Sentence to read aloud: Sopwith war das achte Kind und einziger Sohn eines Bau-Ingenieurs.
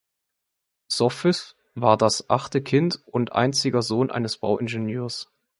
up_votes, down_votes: 2, 1